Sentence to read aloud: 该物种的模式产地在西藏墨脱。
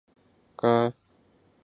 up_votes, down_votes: 0, 2